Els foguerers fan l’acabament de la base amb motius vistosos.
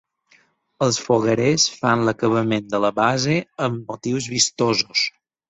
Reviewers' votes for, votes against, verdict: 8, 0, accepted